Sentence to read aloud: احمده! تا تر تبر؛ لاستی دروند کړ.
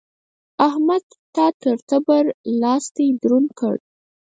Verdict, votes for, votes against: rejected, 0, 4